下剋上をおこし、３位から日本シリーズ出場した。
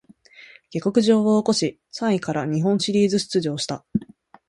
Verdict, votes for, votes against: rejected, 0, 2